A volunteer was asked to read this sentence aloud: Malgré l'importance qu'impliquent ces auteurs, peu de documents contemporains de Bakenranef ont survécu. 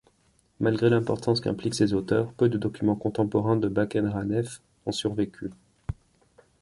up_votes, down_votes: 2, 0